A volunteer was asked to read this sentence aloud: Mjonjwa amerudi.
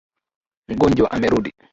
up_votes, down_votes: 2, 0